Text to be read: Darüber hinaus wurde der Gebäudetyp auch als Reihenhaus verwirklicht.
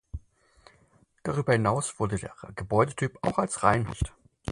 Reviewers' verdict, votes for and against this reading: rejected, 0, 4